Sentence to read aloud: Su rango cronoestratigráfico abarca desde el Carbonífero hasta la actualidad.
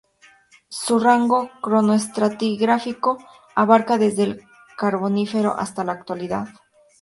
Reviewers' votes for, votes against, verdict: 2, 0, accepted